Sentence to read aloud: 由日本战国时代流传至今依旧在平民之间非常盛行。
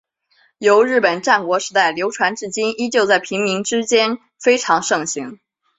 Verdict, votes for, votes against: accepted, 2, 0